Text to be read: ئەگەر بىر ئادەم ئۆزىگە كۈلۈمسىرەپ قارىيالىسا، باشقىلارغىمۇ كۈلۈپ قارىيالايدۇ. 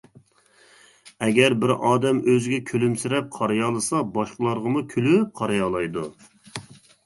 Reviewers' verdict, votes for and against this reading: accepted, 2, 0